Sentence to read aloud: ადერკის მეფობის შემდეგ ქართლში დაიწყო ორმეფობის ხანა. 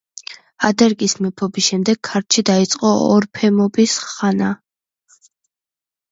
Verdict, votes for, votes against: rejected, 0, 2